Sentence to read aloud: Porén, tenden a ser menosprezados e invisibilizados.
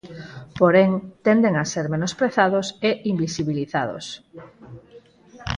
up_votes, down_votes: 2, 4